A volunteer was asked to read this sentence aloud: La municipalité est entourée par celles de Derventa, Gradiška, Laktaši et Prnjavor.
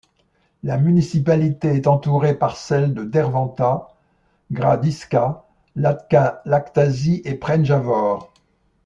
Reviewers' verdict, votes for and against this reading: rejected, 1, 2